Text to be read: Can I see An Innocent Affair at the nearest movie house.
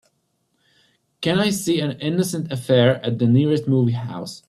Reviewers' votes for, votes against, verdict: 2, 0, accepted